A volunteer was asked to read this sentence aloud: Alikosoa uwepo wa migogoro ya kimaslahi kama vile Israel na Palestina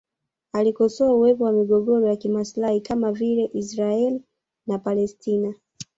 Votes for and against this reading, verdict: 0, 2, rejected